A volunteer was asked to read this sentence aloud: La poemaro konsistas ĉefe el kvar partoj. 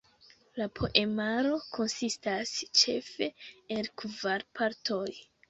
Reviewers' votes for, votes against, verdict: 0, 2, rejected